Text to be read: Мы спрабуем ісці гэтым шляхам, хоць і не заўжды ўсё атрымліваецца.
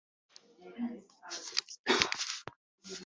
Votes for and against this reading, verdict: 0, 2, rejected